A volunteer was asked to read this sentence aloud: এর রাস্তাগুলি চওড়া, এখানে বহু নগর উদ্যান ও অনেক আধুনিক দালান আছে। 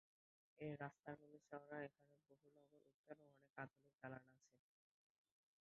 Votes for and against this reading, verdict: 0, 3, rejected